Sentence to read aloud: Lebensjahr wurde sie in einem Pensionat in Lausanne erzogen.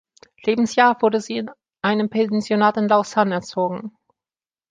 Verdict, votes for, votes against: rejected, 1, 2